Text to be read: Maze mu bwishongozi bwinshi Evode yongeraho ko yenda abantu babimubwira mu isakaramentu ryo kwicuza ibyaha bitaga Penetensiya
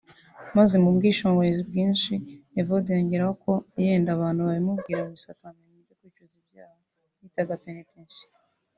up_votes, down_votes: 0, 2